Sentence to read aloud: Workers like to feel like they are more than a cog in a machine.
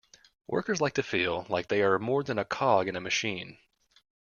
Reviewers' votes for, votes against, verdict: 2, 0, accepted